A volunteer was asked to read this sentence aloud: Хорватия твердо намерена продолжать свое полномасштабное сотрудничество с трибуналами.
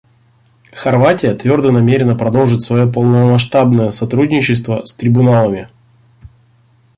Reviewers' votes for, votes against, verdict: 1, 2, rejected